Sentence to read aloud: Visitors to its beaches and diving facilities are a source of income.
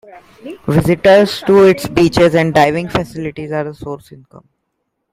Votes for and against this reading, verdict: 0, 2, rejected